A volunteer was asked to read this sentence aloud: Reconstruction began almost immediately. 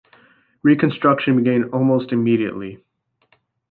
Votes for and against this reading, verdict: 2, 0, accepted